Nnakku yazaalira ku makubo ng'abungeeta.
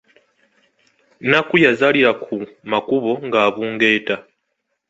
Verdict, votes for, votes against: accepted, 2, 0